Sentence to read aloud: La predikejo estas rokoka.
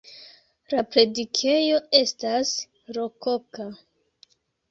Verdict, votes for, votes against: accepted, 3, 0